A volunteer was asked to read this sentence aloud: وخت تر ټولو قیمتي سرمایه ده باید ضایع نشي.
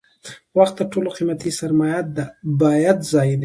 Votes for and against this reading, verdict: 2, 1, accepted